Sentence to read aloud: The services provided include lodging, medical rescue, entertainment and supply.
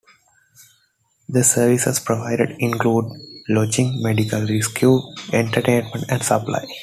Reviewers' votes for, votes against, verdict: 2, 0, accepted